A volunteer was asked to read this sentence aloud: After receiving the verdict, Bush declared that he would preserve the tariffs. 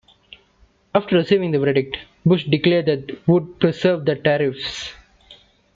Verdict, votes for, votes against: accepted, 2, 1